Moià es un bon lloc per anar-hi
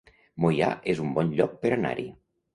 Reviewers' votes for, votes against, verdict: 2, 0, accepted